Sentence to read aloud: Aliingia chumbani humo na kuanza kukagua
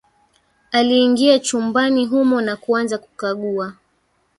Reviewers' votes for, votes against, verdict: 1, 2, rejected